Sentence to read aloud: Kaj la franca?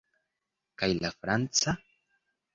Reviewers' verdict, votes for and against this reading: accepted, 2, 0